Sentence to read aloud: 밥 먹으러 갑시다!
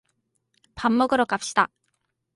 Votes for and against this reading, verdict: 2, 0, accepted